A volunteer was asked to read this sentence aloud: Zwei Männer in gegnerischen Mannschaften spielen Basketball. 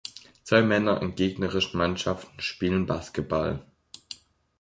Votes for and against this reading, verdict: 3, 1, accepted